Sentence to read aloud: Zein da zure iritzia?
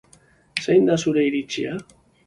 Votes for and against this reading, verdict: 5, 1, accepted